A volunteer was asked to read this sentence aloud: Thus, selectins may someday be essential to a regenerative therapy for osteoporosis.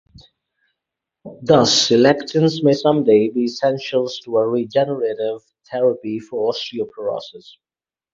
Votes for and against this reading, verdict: 0, 4, rejected